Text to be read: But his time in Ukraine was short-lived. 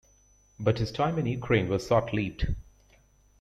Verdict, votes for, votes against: rejected, 0, 2